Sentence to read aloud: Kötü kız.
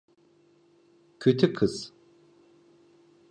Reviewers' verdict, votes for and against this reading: accepted, 2, 0